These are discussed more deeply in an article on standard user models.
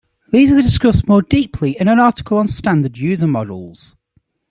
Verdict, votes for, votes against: rejected, 1, 2